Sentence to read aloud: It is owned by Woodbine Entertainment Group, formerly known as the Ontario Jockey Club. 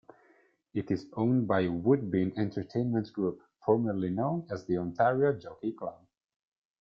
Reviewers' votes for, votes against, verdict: 1, 2, rejected